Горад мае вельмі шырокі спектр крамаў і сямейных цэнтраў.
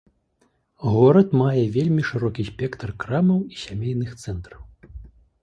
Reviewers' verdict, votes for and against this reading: accepted, 2, 0